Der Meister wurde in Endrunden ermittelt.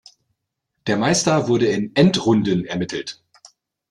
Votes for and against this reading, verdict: 2, 0, accepted